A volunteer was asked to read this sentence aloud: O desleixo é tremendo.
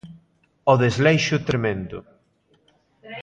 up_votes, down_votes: 2, 0